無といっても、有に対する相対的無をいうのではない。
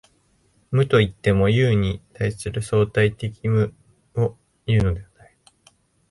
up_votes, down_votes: 1, 2